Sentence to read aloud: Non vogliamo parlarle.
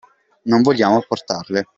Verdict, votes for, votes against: rejected, 1, 2